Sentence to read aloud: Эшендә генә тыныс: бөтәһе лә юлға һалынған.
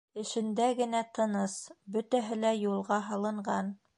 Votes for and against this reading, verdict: 2, 0, accepted